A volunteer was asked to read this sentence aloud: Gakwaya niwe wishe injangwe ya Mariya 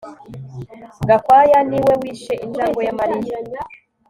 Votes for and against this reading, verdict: 3, 0, accepted